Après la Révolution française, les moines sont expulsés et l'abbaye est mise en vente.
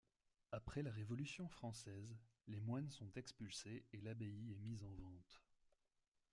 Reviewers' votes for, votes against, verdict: 2, 0, accepted